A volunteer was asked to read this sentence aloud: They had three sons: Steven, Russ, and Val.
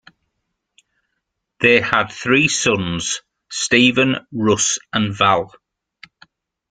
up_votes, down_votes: 2, 1